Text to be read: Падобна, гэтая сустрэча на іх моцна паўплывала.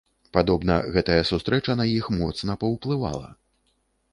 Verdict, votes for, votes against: accepted, 3, 0